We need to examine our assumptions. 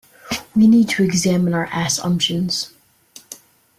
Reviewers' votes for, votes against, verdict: 1, 2, rejected